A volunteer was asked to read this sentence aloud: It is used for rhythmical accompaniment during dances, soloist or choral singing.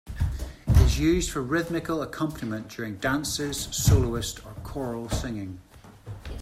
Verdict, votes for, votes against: accepted, 2, 0